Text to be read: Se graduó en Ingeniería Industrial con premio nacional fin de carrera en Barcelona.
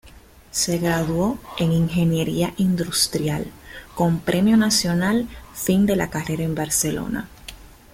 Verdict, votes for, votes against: rejected, 0, 2